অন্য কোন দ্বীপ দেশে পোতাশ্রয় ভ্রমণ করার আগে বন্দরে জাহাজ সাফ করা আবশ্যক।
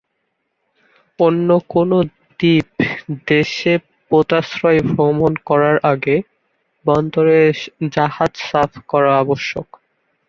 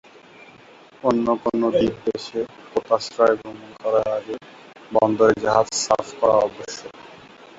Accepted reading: first